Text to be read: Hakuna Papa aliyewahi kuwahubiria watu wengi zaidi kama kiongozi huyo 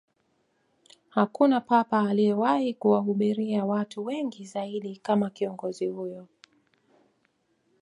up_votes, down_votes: 2, 0